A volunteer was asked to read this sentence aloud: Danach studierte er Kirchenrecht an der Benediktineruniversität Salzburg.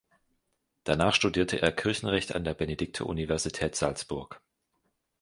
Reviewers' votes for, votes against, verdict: 2, 3, rejected